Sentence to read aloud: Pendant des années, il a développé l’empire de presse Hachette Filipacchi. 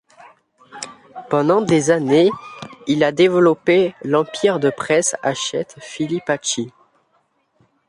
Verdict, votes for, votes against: accepted, 2, 0